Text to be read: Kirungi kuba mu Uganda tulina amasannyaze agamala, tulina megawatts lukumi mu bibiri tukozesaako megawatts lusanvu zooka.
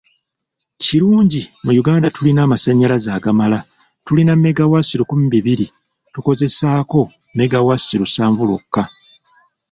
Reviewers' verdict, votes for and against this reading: rejected, 1, 2